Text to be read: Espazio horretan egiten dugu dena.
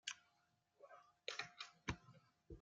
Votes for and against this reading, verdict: 0, 2, rejected